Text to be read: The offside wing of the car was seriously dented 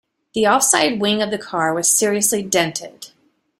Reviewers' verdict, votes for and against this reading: accepted, 2, 0